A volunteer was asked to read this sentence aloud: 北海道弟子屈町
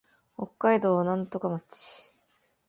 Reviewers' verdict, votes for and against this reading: rejected, 0, 2